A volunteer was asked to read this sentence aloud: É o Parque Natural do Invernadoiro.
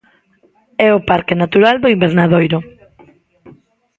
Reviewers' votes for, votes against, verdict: 2, 0, accepted